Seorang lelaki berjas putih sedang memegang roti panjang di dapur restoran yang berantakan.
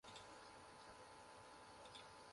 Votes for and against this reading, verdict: 0, 2, rejected